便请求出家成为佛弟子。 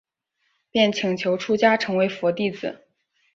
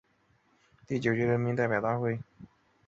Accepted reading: first